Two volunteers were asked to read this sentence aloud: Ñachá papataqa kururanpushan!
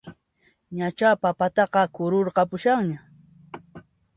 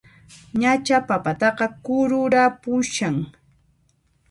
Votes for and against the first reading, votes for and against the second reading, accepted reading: 1, 2, 2, 0, second